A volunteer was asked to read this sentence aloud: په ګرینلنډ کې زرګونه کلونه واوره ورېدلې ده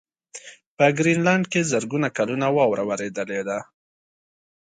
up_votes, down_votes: 2, 0